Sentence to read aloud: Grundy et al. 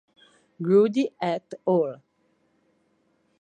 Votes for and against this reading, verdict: 2, 1, accepted